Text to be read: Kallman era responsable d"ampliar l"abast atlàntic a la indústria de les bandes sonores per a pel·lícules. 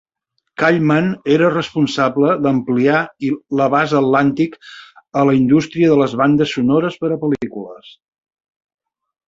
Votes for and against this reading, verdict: 2, 3, rejected